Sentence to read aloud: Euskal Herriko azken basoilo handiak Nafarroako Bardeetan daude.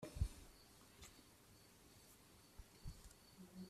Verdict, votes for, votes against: rejected, 0, 2